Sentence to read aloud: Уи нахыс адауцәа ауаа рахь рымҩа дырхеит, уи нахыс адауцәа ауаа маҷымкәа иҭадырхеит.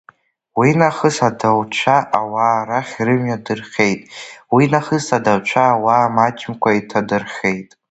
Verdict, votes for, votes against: accepted, 2, 1